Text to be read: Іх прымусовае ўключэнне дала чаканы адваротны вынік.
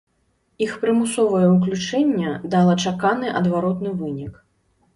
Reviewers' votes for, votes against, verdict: 2, 0, accepted